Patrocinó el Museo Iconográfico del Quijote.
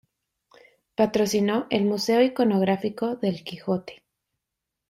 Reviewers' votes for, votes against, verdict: 2, 0, accepted